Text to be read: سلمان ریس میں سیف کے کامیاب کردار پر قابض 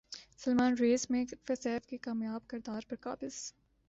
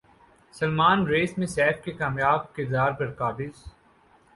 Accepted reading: second